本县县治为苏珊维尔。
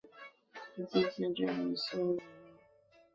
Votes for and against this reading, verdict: 0, 2, rejected